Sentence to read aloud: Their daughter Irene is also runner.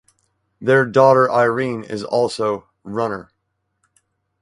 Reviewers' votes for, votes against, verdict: 4, 0, accepted